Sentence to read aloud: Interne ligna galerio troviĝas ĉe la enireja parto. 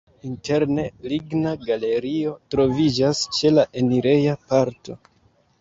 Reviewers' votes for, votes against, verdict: 2, 0, accepted